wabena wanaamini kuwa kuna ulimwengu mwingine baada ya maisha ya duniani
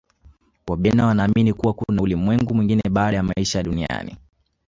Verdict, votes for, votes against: rejected, 1, 2